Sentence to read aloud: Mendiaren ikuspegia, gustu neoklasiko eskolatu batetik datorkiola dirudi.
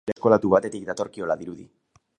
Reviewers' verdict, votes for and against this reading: rejected, 0, 4